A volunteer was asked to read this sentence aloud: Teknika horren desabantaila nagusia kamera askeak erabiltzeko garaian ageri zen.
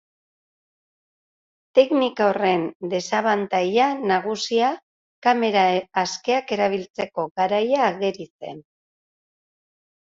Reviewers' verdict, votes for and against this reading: accepted, 2, 0